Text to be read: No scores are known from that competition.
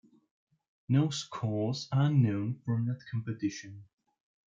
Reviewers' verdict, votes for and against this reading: rejected, 0, 2